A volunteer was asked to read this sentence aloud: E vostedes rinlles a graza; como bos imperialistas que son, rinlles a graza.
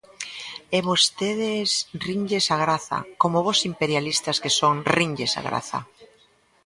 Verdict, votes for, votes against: accepted, 2, 0